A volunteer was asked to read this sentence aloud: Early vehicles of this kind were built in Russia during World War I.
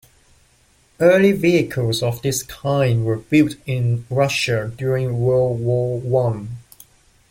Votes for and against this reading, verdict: 2, 0, accepted